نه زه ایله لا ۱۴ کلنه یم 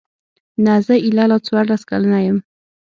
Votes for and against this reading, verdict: 0, 2, rejected